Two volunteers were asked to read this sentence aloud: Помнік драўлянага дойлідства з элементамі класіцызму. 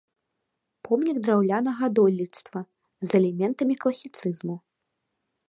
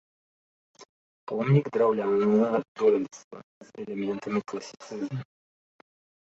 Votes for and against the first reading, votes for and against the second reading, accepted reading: 2, 0, 0, 2, first